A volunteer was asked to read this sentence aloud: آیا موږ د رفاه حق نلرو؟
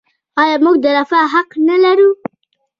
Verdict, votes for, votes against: rejected, 0, 2